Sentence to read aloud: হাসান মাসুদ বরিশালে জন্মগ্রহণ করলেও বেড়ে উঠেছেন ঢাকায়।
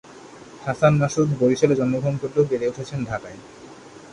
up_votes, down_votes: 2, 0